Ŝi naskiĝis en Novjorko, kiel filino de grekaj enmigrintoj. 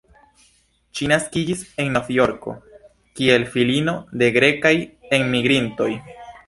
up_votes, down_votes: 2, 0